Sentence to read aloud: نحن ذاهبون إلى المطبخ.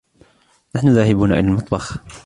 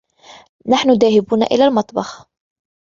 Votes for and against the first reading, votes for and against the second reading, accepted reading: 1, 2, 2, 0, second